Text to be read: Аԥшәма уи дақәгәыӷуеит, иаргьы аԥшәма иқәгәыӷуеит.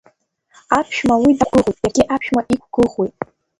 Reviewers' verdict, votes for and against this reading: rejected, 1, 3